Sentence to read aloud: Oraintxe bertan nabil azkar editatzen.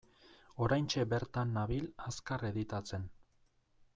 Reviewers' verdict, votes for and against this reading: accepted, 2, 0